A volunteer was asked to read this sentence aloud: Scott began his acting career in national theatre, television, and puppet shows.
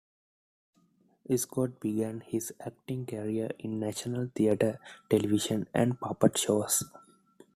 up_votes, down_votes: 2, 1